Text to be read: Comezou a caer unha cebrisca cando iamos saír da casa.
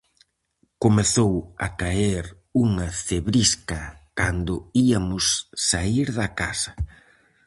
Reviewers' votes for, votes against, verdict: 0, 4, rejected